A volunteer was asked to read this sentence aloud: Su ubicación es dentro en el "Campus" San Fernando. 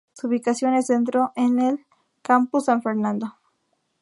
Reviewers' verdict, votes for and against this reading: accepted, 2, 0